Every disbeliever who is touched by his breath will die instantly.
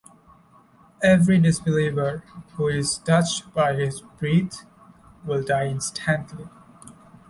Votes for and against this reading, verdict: 0, 2, rejected